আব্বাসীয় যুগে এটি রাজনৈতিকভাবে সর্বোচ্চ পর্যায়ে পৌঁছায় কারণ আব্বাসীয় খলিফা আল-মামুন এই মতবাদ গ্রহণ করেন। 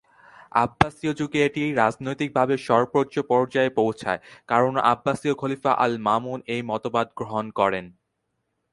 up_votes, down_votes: 2, 0